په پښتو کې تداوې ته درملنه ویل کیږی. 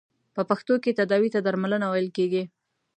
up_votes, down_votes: 2, 0